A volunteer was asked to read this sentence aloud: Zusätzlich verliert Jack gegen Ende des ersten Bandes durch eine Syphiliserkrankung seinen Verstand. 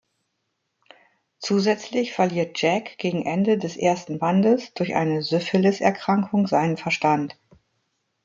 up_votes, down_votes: 2, 0